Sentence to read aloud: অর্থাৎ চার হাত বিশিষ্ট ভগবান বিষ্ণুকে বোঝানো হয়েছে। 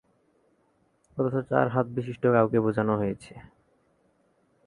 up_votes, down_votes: 0, 2